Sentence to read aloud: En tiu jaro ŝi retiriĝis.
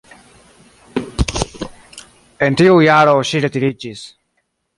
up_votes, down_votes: 2, 0